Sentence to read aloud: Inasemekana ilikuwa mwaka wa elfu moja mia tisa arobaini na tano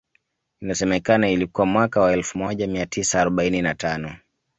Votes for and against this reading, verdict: 2, 0, accepted